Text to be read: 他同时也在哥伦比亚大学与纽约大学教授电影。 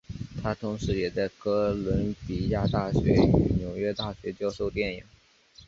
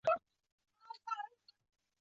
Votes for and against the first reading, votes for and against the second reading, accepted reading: 2, 0, 0, 2, first